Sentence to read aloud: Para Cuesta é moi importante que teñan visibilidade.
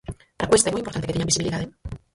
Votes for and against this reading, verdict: 0, 4, rejected